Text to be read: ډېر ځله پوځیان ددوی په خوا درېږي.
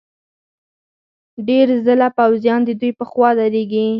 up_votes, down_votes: 4, 0